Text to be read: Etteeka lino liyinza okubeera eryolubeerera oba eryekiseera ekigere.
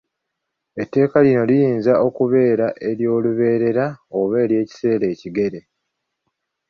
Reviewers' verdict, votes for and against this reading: accepted, 3, 1